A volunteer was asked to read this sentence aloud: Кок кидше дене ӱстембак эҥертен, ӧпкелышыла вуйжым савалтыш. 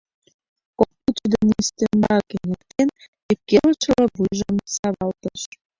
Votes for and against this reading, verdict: 0, 2, rejected